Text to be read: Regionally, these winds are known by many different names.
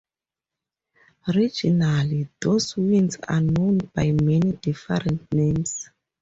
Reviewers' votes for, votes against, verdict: 0, 6, rejected